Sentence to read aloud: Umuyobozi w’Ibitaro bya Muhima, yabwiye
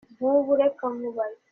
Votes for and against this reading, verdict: 0, 2, rejected